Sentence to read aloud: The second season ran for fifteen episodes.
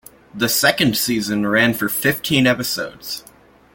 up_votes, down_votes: 2, 0